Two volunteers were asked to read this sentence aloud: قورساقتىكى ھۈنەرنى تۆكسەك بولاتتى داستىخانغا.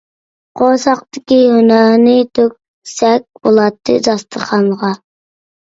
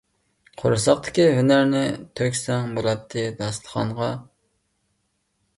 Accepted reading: first